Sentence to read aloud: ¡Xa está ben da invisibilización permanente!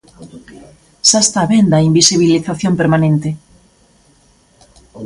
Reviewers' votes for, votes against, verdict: 2, 0, accepted